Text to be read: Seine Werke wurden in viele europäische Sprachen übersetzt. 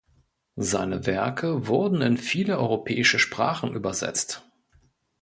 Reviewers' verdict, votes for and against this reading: accepted, 2, 0